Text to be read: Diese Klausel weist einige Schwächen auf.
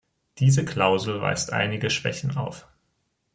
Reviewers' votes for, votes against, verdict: 2, 0, accepted